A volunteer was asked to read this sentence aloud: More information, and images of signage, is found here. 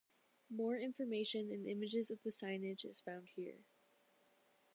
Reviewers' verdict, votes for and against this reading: rejected, 0, 2